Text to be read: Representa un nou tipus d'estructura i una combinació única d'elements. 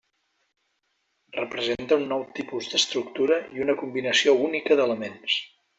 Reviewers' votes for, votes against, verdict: 3, 1, accepted